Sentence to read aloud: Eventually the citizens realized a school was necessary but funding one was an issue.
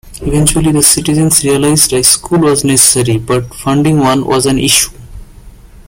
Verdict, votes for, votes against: accepted, 2, 1